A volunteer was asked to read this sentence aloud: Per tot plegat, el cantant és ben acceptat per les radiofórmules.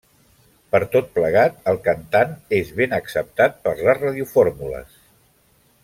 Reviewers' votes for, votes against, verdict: 3, 0, accepted